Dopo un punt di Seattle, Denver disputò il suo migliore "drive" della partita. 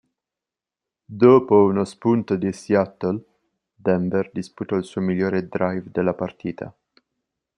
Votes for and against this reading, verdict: 0, 2, rejected